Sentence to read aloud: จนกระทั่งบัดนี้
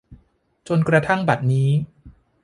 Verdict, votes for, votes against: accepted, 2, 0